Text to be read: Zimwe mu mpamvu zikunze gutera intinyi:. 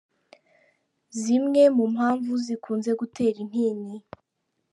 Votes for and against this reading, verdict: 2, 0, accepted